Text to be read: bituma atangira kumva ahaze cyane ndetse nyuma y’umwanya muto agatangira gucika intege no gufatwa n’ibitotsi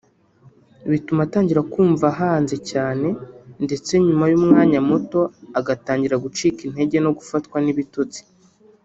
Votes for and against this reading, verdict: 1, 2, rejected